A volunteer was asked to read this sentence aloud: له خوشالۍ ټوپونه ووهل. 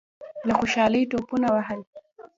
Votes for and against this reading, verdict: 1, 2, rejected